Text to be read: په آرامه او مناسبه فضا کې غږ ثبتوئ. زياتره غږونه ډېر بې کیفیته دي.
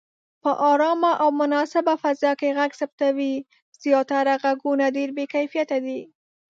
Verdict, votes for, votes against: rejected, 0, 2